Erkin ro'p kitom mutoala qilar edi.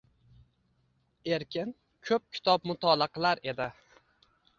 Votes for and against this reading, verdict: 1, 2, rejected